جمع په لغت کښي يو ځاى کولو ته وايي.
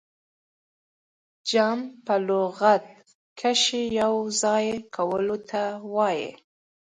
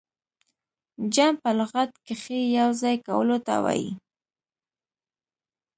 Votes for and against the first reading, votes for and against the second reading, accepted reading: 2, 1, 1, 2, first